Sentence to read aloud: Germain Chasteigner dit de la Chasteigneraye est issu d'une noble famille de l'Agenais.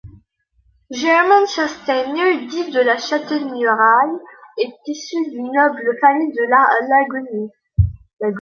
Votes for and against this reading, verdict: 0, 2, rejected